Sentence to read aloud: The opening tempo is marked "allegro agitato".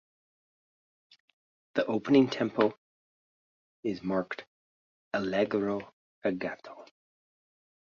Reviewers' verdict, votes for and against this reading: rejected, 2, 3